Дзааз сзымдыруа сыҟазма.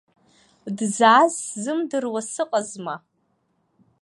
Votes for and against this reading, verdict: 2, 0, accepted